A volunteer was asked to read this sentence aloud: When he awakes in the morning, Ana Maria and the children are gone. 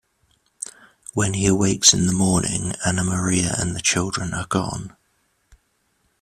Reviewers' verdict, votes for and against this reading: accepted, 3, 0